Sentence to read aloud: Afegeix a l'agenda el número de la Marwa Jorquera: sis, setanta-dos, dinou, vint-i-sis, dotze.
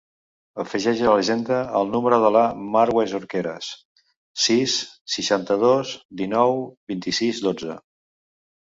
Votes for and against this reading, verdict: 0, 2, rejected